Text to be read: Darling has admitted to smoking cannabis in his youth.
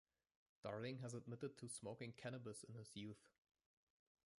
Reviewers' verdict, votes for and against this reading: accepted, 2, 1